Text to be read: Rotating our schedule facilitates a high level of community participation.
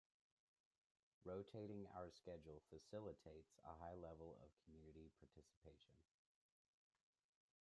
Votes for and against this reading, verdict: 0, 2, rejected